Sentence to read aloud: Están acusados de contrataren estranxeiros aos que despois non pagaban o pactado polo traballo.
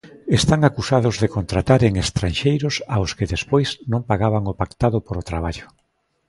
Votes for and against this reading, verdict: 1, 2, rejected